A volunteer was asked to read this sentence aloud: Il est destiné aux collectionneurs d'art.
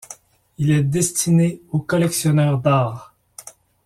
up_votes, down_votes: 2, 0